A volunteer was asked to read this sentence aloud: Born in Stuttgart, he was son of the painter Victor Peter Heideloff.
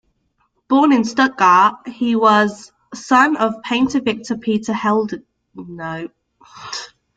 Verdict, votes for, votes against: rejected, 0, 2